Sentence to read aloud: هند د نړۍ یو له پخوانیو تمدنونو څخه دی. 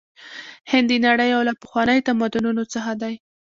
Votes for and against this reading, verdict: 2, 1, accepted